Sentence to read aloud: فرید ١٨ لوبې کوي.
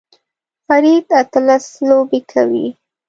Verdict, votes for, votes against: rejected, 0, 2